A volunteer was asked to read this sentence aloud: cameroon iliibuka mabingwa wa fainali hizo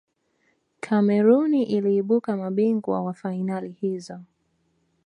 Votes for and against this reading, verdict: 2, 1, accepted